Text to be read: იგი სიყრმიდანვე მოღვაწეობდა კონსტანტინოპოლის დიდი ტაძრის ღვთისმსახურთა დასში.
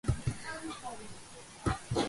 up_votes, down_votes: 0, 3